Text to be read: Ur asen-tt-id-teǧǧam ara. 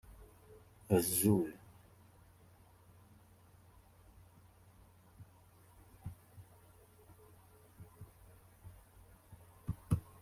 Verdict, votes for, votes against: rejected, 0, 2